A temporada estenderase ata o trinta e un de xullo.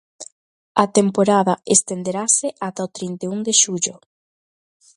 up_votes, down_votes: 2, 0